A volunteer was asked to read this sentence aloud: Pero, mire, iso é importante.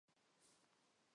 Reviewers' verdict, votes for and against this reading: rejected, 0, 4